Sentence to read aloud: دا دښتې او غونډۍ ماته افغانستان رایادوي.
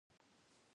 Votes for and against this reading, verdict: 0, 2, rejected